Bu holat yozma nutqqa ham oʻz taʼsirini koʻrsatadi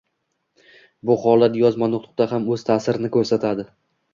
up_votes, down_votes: 2, 0